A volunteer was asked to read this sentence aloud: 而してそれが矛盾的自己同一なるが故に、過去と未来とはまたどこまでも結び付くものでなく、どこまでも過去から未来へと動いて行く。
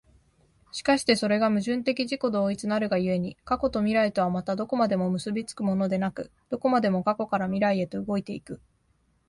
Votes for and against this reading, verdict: 3, 0, accepted